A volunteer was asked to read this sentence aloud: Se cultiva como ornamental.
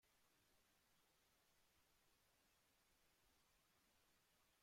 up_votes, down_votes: 0, 2